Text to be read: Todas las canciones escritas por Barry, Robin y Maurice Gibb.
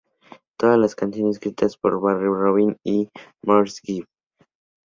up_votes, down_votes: 2, 0